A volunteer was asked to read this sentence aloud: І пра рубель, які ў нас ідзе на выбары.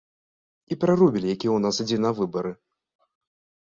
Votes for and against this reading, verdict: 1, 2, rejected